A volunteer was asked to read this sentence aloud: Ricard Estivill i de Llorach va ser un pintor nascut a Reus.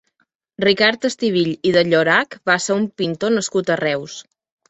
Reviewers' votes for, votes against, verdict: 2, 0, accepted